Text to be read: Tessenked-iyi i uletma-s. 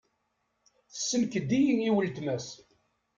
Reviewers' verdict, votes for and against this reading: accepted, 2, 0